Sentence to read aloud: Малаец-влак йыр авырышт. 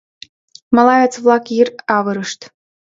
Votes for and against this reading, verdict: 2, 0, accepted